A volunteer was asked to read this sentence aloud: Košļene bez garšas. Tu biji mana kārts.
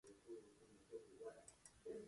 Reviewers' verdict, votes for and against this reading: rejected, 0, 2